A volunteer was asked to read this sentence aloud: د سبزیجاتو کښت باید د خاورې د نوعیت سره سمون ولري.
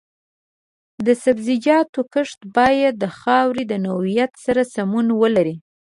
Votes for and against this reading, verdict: 2, 0, accepted